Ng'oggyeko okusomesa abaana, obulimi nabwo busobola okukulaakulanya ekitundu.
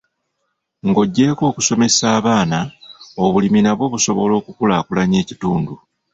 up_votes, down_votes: 1, 2